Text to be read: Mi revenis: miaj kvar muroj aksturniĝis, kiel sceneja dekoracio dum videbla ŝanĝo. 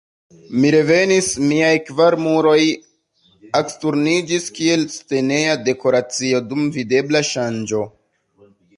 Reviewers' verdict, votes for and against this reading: accepted, 2, 0